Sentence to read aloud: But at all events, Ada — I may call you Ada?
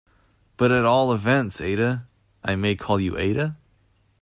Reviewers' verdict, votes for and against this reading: accepted, 2, 0